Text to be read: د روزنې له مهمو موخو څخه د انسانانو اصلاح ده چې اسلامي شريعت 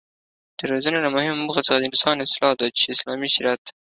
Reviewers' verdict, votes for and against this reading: accepted, 2, 0